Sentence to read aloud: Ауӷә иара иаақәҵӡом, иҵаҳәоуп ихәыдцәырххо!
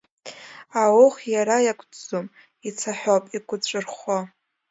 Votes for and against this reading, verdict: 0, 2, rejected